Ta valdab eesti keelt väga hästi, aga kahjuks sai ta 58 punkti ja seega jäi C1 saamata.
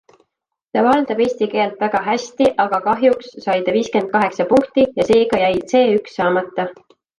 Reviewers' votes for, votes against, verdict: 0, 2, rejected